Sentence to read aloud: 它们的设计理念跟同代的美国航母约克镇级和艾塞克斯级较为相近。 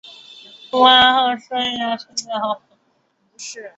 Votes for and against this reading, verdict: 0, 3, rejected